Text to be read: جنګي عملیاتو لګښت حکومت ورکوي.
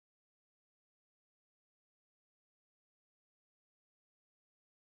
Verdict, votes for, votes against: rejected, 0, 2